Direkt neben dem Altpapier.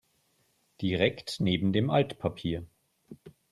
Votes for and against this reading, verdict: 3, 0, accepted